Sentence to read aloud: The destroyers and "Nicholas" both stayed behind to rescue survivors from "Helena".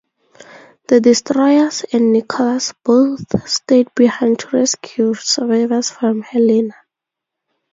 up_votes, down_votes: 2, 0